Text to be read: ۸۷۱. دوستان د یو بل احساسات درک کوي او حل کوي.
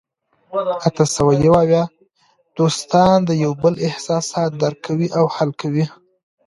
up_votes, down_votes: 0, 2